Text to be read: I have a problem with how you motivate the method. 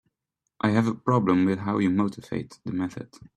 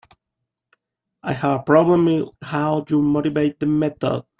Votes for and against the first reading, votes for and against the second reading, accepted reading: 2, 0, 0, 3, first